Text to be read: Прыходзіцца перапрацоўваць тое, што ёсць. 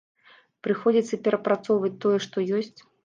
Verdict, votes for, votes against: accepted, 2, 0